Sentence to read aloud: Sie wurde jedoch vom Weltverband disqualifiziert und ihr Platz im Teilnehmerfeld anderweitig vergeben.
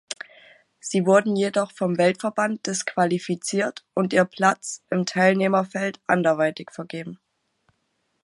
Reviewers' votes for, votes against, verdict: 1, 2, rejected